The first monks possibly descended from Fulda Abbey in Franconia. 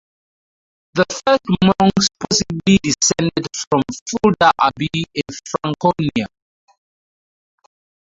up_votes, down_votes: 2, 2